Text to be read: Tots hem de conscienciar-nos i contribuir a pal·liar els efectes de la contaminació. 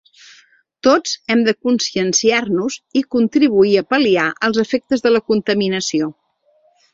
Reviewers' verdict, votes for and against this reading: accepted, 3, 0